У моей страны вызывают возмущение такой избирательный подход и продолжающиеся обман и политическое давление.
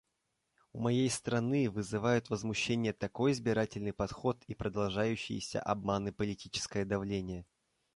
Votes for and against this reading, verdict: 2, 0, accepted